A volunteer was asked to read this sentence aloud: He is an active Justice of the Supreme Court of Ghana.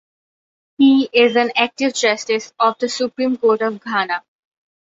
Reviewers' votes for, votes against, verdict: 2, 0, accepted